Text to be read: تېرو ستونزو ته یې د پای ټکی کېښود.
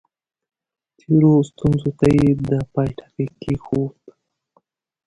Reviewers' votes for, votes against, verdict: 2, 1, accepted